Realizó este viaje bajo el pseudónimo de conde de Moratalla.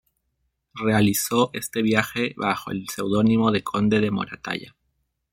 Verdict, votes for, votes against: rejected, 1, 2